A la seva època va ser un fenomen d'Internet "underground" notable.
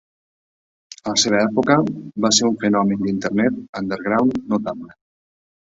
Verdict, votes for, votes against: accepted, 3, 0